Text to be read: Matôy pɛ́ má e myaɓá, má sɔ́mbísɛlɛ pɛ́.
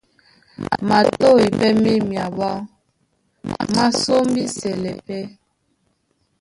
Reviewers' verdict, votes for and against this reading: rejected, 0, 2